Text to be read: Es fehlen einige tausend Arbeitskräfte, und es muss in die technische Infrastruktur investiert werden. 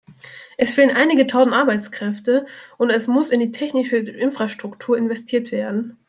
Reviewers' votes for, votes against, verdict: 1, 2, rejected